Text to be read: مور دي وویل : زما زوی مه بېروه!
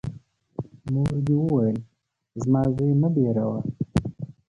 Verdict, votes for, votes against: rejected, 1, 2